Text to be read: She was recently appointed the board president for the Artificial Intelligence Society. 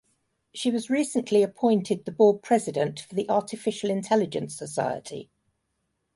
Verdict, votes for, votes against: accepted, 2, 0